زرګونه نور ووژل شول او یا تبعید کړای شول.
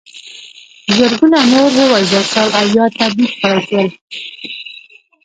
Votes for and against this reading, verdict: 0, 2, rejected